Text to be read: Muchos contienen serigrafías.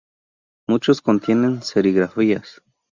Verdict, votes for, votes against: accepted, 2, 0